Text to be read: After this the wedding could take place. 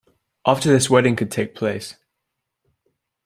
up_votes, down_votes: 1, 2